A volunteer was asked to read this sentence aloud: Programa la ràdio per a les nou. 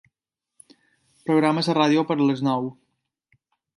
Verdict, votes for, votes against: rejected, 1, 2